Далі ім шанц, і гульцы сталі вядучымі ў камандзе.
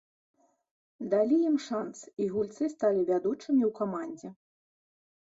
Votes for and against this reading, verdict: 2, 0, accepted